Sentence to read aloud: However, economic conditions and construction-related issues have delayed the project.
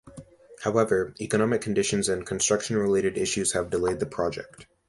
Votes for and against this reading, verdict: 2, 0, accepted